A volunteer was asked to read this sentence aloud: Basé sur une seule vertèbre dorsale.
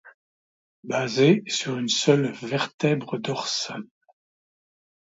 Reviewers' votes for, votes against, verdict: 2, 0, accepted